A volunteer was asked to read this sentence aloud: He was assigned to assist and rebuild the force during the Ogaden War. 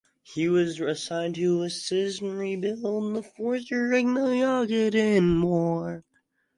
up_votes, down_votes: 0, 4